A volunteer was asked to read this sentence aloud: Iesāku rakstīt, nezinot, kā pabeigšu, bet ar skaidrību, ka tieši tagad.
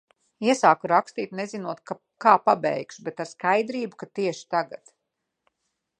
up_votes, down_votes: 0, 2